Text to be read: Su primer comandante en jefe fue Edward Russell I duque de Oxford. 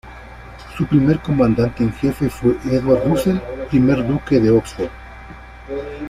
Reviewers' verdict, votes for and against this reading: rejected, 1, 2